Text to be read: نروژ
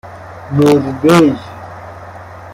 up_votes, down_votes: 2, 0